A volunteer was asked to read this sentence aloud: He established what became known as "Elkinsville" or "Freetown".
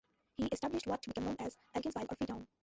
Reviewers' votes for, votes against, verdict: 0, 2, rejected